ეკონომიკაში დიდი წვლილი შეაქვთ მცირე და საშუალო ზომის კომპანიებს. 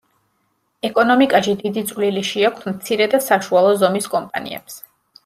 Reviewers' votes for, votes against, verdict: 2, 0, accepted